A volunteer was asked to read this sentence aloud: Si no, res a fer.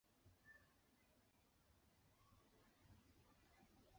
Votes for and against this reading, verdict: 0, 2, rejected